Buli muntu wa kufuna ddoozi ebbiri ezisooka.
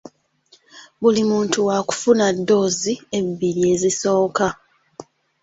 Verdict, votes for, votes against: accepted, 2, 0